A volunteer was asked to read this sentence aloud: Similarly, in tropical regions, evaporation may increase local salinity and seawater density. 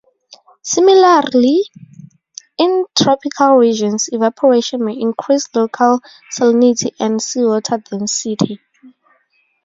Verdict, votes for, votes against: accepted, 4, 0